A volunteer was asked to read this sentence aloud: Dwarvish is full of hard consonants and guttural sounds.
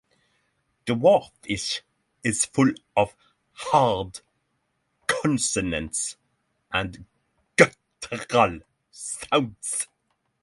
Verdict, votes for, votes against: rejected, 0, 3